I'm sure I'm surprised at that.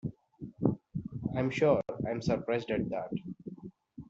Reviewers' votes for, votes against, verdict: 2, 0, accepted